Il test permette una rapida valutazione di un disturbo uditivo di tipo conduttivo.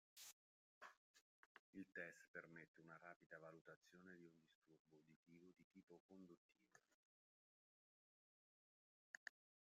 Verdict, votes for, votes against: rejected, 0, 2